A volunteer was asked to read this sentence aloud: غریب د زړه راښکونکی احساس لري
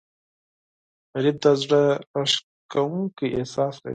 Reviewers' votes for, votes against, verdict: 2, 6, rejected